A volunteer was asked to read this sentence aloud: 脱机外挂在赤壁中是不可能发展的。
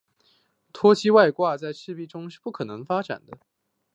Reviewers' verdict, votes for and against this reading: rejected, 0, 2